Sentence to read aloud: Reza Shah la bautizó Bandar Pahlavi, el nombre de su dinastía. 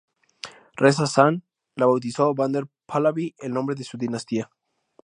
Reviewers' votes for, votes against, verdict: 4, 2, accepted